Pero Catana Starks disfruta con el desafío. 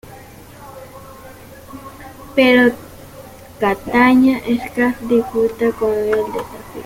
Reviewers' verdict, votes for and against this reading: rejected, 0, 2